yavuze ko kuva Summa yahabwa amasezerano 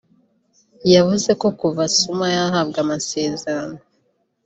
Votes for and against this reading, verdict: 2, 1, accepted